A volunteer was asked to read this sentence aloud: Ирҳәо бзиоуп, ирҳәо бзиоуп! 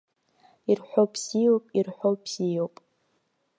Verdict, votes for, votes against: rejected, 0, 2